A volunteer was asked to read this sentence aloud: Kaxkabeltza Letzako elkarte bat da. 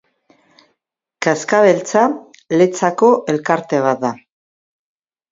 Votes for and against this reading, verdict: 3, 0, accepted